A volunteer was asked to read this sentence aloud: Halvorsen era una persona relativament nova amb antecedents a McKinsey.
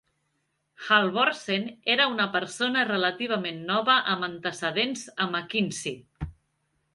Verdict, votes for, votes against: accepted, 2, 0